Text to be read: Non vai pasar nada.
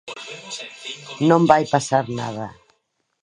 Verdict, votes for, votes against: rejected, 0, 2